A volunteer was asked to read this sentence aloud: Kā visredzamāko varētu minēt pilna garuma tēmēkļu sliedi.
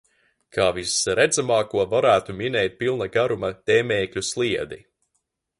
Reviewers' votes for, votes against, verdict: 0, 2, rejected